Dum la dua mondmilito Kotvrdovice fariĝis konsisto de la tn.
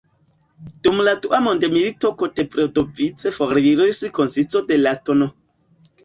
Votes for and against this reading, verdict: 2, 3, rejected